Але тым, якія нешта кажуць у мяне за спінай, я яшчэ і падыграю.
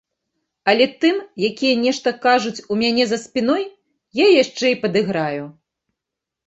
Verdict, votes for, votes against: rejected, 1, 2